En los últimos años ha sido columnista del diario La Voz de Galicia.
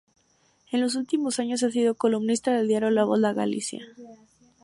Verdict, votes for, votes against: accepted, 2, 0